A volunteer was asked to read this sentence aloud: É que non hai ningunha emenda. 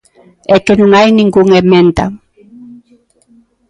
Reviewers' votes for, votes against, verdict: 0, 2, rejected